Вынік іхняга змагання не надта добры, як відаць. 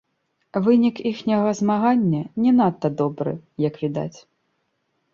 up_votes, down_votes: 1, 2